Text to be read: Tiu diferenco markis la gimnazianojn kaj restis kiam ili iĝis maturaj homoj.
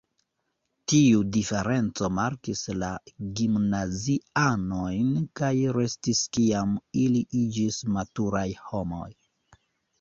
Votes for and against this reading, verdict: 1, 2, rejected